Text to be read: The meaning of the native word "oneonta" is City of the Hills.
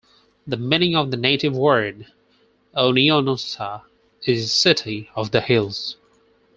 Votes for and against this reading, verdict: 2, 4, rejected